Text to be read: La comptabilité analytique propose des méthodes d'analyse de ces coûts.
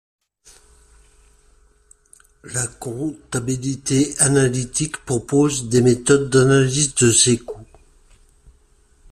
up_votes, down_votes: 1, 2